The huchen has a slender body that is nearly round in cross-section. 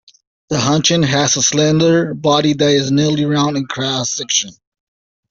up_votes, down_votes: 2, 0